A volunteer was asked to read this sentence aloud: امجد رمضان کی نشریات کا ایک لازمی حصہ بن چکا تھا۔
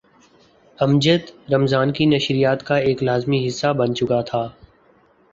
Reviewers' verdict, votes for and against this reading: accepted, 3, 0